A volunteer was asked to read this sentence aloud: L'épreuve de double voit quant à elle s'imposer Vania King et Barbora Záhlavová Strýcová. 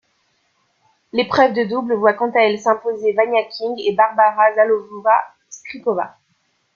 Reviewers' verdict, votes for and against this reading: accepted, 2, 0